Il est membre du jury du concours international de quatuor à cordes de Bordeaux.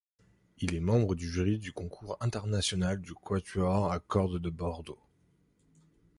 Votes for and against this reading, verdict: 2, 1, accepted